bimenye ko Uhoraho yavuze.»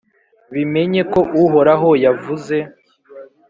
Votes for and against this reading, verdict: 3, 0, accepted